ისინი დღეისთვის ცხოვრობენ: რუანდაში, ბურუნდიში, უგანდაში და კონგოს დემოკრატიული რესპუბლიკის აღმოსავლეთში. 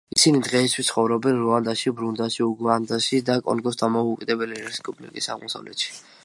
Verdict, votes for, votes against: rejected, 0, 2